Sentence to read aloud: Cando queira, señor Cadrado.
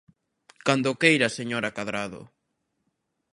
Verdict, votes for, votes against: rejected, 0, 2